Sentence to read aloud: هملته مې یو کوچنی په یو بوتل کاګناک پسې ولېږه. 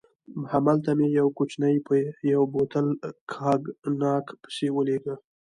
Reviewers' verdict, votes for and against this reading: rejected, 0, 2